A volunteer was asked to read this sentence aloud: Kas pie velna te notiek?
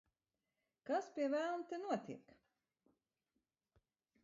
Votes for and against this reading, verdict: 1, 2, rejected